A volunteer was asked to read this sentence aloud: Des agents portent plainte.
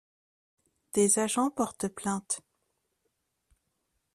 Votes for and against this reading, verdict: 2, 0, accepted